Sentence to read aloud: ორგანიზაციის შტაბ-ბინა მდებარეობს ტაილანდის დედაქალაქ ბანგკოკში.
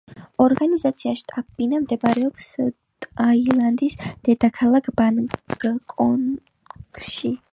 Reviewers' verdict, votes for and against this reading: rejected, 1, 4